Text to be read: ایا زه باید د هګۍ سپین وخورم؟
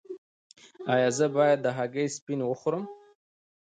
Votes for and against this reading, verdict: 0, 2, rejected